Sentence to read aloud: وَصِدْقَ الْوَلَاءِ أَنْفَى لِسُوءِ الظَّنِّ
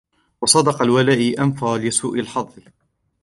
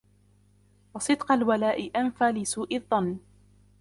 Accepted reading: second